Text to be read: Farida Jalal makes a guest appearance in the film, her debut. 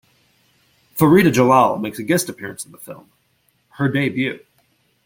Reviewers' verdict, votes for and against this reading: rejected, 1, 2